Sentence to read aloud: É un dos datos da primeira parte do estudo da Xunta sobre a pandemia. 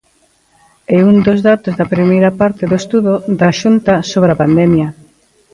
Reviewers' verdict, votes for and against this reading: accepted, 2, 0